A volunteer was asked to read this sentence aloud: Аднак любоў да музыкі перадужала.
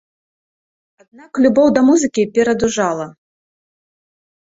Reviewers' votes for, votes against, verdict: 2, 1, accepted